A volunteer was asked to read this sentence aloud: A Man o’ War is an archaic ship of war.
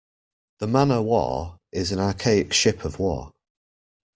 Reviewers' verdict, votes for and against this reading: accepted, 2, 1